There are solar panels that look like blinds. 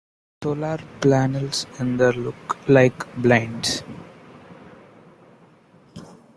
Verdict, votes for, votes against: rejected, 0, 2